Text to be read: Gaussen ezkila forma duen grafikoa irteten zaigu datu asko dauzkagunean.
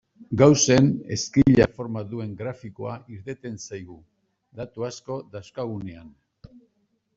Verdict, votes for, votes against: accepted, 2, 0